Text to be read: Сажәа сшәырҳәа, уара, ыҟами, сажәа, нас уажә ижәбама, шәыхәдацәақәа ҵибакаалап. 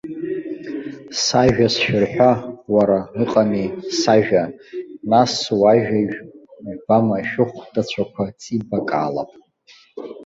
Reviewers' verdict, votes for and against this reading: rejected, 1, 2